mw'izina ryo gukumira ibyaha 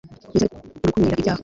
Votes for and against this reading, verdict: 1, 2, rejected